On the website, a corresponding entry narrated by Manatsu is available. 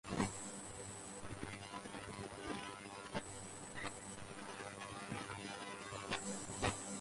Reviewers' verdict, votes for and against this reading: rejected, 0, 2